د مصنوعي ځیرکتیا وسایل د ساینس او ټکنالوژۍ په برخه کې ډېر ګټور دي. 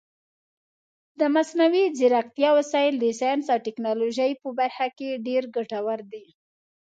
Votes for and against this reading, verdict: 2, 0, accepted